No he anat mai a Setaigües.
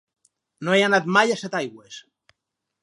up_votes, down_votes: 2, 2